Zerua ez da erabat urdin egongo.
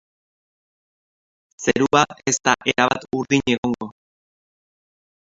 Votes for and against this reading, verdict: 1, 2, rejected